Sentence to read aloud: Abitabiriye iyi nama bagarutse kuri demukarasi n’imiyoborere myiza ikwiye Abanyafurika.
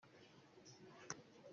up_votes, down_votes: 0, 2